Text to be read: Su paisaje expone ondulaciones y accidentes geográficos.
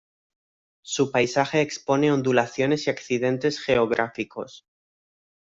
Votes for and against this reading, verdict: 2, 0, accepted